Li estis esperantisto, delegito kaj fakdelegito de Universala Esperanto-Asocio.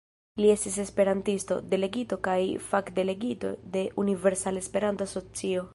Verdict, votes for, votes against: accepted, 2, 0